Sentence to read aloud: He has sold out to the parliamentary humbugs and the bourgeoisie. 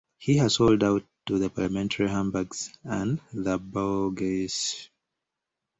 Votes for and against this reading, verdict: 1, 2, rejected